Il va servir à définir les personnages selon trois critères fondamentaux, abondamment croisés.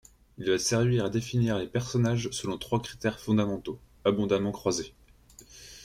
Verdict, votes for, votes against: accepted, 2, 0